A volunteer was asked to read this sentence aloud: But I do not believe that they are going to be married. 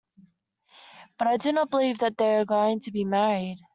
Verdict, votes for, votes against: accepted, 2, 0